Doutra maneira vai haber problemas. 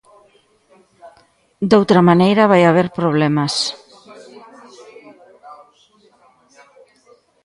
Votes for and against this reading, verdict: 2, 0, accepted